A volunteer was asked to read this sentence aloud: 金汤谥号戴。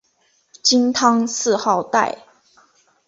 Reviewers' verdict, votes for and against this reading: rejected, 0, 3